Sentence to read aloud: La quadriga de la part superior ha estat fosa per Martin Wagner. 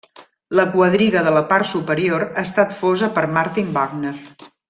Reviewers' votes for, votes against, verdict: 0, 2, rejected